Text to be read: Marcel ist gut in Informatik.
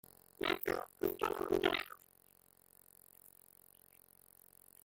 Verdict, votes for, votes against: rejected, 0, 2